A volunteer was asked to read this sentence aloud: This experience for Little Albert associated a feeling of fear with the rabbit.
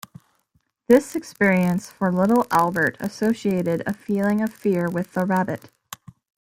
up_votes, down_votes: 2, 0